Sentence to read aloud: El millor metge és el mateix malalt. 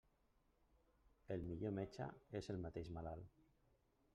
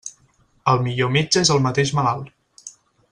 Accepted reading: second